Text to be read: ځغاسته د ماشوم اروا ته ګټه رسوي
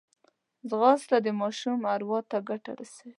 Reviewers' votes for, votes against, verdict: 2, 1, accepted